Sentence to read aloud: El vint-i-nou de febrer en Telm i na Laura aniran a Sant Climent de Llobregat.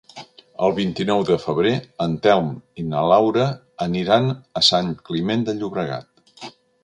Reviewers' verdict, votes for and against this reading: accepted, 3, 0